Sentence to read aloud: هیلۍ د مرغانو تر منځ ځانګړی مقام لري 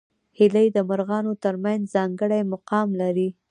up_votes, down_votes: 0, 2